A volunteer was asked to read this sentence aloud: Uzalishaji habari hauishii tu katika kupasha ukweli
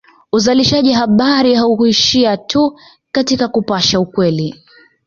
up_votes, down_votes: 1, 2